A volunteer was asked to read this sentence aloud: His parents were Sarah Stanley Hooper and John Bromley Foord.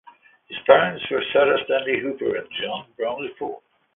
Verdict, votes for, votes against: accepted, 2, 0